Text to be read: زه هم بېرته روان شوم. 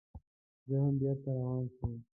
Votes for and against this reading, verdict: 1, 2, rejected